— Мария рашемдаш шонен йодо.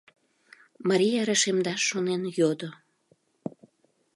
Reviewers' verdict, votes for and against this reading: accepted, 2, 0